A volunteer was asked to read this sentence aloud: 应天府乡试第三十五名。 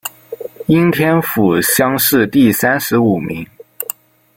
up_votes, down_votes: 0, 2